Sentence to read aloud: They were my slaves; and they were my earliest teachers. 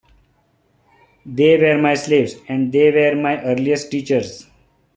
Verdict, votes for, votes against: accepted, 2, 0